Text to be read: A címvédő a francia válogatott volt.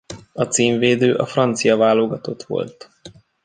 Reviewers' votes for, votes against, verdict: 2, 0, accepted